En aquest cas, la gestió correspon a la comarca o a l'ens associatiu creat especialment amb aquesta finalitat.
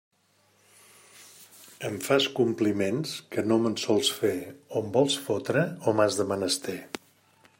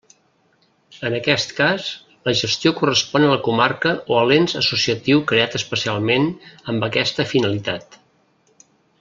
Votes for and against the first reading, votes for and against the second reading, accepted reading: 0, 2, 2, 0, second